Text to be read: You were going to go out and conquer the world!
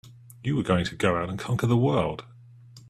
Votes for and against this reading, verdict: 2, 0, accepted